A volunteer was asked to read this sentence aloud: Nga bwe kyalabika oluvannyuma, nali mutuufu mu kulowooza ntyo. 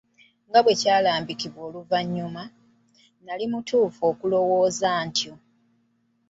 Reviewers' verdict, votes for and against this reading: rejected, 2, 2